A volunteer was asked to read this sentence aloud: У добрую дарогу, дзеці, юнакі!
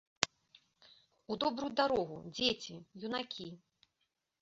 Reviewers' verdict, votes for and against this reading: accepted, 2, 0